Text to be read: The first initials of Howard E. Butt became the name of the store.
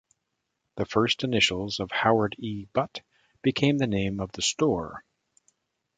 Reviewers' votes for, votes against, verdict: 1, 2, rejected